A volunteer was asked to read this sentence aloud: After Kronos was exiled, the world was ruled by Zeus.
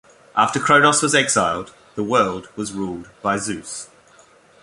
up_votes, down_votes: 2, 0